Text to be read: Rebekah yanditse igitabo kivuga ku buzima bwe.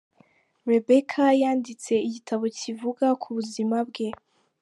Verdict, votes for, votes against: accepted, 2, 1